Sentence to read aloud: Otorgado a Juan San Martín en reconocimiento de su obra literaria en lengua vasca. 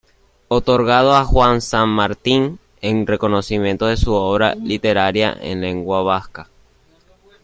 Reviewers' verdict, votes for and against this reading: rejected, 1, 2